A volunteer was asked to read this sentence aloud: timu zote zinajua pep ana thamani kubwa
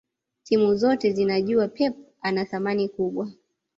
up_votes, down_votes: 2, 0